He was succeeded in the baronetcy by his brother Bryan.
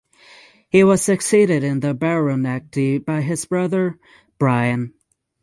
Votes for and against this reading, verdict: 6, 0, accepted